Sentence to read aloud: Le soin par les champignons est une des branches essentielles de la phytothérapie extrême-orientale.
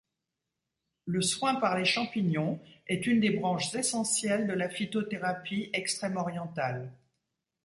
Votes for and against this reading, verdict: 2, 0, accepted